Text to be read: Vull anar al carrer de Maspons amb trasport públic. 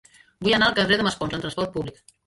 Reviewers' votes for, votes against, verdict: 0, 2, rejected